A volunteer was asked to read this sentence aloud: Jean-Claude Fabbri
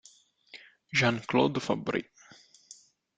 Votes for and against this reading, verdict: 5, 0, accepted